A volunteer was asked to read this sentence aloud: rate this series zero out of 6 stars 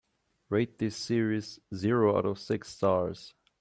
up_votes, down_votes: 0, 2